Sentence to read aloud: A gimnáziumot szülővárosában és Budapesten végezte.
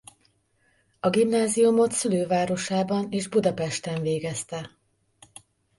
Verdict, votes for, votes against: accepted, 2, 0